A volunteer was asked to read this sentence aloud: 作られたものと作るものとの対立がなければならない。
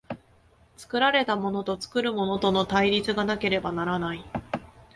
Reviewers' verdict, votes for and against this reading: accepted, 2, 1